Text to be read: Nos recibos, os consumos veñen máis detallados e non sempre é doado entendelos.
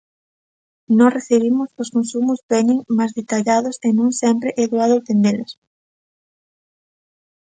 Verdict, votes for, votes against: rejected, 0, 2